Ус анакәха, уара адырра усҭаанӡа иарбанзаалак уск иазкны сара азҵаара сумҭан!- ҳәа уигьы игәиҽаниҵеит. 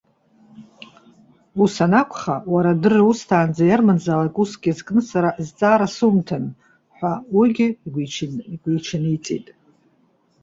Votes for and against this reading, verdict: 1, 2, rejected